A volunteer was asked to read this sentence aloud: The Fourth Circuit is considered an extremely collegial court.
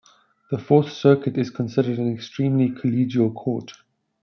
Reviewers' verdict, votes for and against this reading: accepted, 3, 0